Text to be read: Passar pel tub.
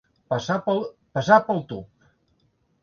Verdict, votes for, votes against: rejected, 0, 2